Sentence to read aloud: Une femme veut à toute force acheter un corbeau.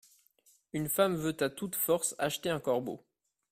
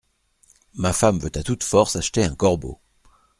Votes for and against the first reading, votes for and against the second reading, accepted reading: 3, 0, 0, 2, first